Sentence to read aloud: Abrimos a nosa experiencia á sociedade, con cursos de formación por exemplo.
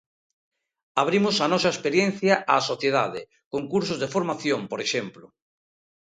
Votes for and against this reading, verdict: 2, 0, accepted